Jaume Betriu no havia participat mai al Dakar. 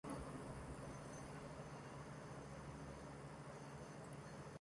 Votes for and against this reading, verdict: 0, 2, rejected